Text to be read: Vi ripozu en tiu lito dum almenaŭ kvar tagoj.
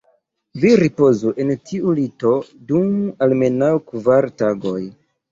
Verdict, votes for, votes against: rejected, 1, 2